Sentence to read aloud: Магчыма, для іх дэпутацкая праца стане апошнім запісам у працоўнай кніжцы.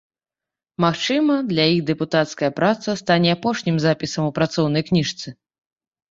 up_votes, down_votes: 2, 0